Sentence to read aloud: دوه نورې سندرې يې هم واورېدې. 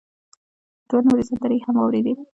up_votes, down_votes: 2, 1